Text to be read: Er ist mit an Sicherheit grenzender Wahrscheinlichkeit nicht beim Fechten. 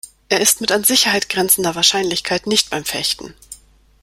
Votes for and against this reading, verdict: 2, 0, accepted